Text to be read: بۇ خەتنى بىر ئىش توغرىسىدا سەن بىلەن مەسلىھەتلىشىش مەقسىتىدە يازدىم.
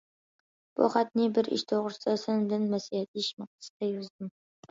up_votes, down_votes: 1, 2